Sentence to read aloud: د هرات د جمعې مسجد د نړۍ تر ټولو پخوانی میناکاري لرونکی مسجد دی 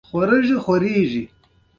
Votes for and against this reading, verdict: 0, 2, rejected